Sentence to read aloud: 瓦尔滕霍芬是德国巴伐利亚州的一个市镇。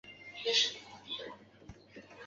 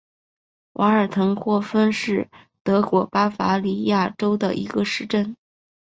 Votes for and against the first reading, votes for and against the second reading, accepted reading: 0, 2, 3, 0, second